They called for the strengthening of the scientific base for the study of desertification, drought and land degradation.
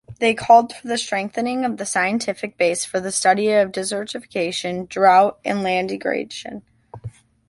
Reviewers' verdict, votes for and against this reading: rejected, 1, 2